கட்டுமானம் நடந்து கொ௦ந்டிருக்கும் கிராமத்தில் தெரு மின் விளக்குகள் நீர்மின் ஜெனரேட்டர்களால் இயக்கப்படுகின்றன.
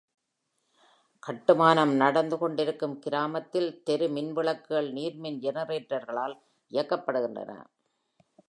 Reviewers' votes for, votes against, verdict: 0, 2, rejected